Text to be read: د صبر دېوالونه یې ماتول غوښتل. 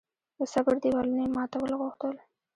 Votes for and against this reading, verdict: 2, 0, accepted